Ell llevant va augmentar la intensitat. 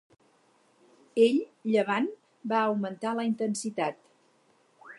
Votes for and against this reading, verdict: 4, 0, accepted